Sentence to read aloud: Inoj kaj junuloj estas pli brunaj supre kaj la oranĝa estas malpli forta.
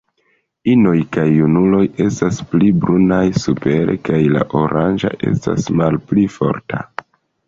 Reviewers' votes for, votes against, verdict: 1, 2, rejected